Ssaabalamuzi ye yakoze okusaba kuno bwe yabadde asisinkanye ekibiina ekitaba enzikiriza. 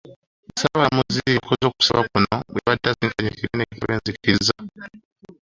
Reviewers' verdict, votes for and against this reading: rejected, 1, 2